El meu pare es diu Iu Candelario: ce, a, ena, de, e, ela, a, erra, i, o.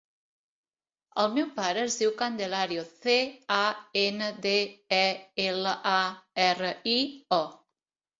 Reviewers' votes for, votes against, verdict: 1, 2, rejected